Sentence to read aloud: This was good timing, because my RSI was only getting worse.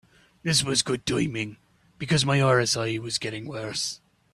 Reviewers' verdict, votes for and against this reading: rejected, 0, 2